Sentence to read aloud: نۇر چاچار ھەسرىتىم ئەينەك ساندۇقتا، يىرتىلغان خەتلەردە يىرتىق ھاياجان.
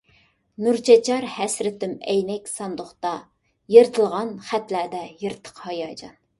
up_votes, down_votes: 2, 0